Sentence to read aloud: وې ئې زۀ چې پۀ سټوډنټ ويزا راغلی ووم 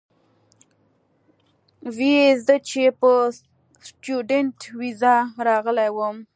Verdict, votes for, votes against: accepted, 2, 0